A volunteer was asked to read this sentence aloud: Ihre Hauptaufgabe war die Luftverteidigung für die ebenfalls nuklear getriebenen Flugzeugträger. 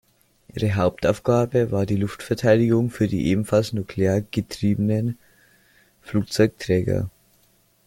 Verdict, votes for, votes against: accepted, 2, 1